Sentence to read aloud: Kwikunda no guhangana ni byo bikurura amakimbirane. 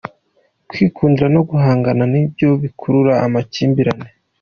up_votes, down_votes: 2, 0